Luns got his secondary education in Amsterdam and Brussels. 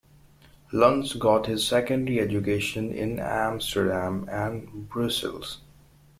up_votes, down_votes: 2, 0